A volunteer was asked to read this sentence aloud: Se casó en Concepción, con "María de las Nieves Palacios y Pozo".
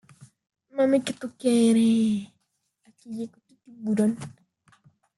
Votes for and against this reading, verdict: 0, 2, rejected